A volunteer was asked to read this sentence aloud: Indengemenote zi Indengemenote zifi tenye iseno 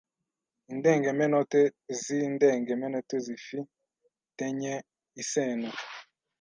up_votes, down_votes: 1, 2